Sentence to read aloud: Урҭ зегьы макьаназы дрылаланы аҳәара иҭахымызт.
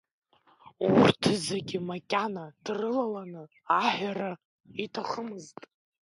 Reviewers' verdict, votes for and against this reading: rejected, 0, 2